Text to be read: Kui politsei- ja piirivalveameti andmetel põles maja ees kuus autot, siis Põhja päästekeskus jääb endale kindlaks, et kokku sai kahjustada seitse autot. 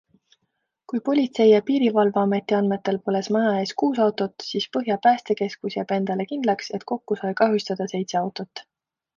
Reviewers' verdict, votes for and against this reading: accepted, 2, 0